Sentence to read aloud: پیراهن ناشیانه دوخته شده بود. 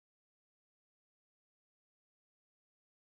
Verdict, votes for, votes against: rejected, 0, 6